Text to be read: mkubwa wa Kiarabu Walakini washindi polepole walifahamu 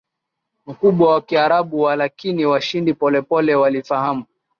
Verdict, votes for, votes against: rejected, 2, 2